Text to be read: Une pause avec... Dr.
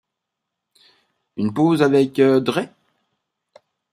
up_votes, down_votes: 1, 3